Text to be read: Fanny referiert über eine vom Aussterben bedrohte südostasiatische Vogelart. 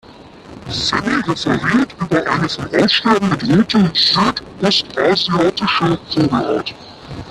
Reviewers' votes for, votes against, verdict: 0, 2, rejected